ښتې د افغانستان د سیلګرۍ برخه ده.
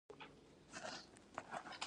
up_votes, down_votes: 2, 1